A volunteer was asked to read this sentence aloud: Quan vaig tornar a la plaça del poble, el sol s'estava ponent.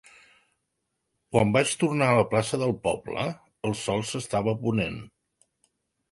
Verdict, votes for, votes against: accepted, 3, 0